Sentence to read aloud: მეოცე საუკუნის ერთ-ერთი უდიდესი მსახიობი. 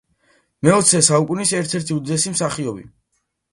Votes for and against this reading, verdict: 2, 0, accepted